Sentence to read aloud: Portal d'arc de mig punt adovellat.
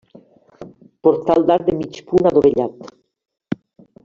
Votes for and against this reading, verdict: 1, 2, rejected